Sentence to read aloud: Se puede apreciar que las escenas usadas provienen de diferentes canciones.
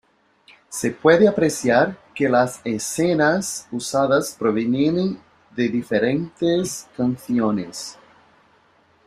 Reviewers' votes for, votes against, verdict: 0, 2, rejected